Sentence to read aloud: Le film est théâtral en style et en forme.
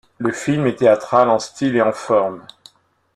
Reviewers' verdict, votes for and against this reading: accepted, 2, 0